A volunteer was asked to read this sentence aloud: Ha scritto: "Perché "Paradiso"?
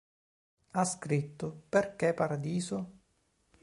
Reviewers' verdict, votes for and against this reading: accepted, 3, 0